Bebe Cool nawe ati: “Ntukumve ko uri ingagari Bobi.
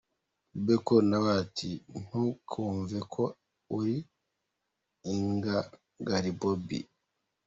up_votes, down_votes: 1, 2